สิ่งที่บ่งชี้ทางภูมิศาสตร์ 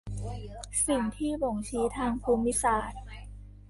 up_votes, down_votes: 2, 1